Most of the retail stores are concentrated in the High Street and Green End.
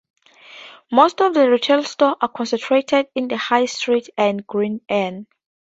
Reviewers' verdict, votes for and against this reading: rejected, 0, 2